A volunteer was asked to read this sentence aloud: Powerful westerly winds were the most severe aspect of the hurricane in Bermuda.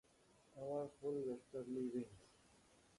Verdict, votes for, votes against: rejected, 0, 2